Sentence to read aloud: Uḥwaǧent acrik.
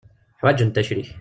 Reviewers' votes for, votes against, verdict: 0, 2, rejected